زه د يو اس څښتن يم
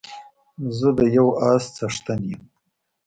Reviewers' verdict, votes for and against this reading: accepted, 2, 0